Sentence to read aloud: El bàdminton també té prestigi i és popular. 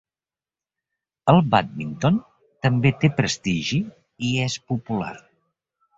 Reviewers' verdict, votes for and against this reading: accepted, 2, 0